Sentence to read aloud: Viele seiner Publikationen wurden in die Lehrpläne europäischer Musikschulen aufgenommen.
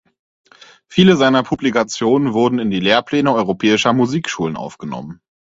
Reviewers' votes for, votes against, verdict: 4, 0, accepted